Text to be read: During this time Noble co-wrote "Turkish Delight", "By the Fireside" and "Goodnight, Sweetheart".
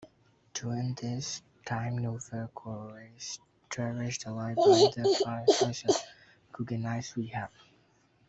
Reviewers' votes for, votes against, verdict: 0, 2, rejected